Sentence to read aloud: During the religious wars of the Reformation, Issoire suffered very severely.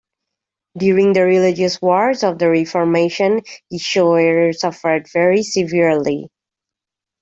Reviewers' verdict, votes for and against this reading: rejected, 0, 2